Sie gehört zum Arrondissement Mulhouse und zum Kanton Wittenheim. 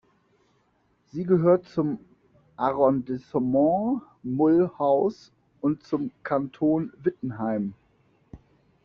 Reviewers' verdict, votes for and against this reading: rejected, 0, 2